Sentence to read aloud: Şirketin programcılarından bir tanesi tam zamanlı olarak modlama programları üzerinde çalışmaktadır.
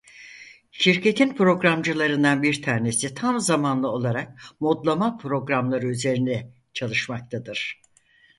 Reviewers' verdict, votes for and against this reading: rejected, 2, 4